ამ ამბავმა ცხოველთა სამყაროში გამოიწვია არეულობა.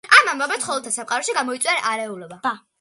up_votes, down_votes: 2, 1